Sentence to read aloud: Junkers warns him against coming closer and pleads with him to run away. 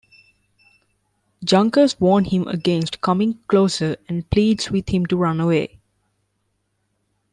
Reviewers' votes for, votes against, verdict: 1, 2, rejected